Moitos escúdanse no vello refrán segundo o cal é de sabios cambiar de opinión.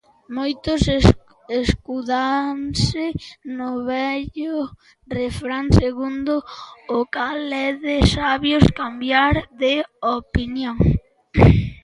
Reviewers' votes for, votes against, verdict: 0, 2, rejected